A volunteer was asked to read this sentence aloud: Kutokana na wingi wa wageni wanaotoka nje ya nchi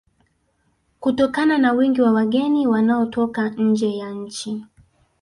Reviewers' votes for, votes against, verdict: 1, 2, rejected